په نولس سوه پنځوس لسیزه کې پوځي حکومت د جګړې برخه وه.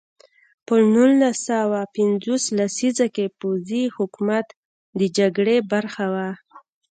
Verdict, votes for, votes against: accepted, 2, 0